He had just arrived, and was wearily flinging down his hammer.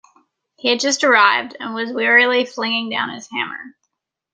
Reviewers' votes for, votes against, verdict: 2, 0, accepted